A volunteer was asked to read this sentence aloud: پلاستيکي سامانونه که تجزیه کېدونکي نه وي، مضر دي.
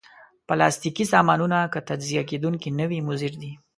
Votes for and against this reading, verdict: 2, 1, accepted